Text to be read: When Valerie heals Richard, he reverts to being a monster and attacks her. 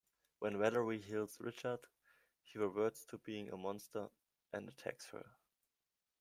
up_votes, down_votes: 2, 0